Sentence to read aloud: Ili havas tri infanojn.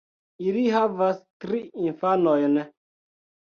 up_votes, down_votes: 2, 0